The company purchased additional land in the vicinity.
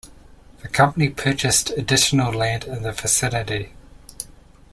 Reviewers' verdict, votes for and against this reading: accepted, 2, 0